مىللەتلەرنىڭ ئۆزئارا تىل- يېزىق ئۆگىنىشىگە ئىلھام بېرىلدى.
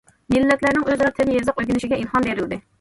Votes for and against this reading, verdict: 1, 2, rejected